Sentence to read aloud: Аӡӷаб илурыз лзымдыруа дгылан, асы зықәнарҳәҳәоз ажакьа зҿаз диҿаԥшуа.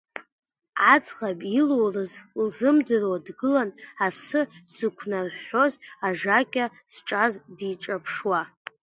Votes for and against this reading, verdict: 2, 1, accepted